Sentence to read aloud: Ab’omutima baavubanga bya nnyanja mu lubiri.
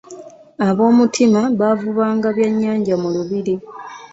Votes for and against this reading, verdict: 2, 0, accepted